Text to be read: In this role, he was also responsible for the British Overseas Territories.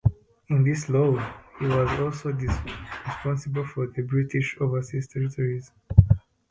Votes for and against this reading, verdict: 0, 2, rejected